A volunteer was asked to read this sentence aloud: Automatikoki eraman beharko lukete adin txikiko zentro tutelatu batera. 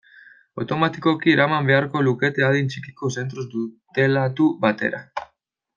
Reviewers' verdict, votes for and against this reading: rejected, 0, 2